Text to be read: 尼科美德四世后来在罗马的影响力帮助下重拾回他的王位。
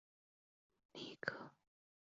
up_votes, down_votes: 0, 2